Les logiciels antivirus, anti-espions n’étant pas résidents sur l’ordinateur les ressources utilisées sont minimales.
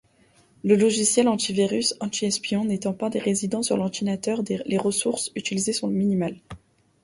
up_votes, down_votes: 0, 2